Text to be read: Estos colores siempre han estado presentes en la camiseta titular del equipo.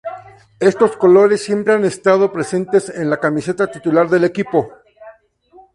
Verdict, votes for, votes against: accepted, 2, 0